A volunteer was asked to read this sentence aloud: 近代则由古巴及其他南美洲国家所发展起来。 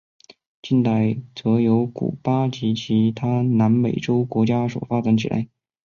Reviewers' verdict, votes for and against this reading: accepted, 3, 0